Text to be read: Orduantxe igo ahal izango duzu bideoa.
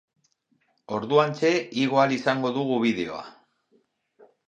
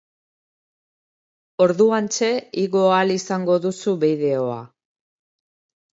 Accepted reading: second